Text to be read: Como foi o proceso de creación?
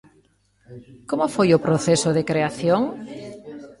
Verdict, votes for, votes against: rejected, 0, 2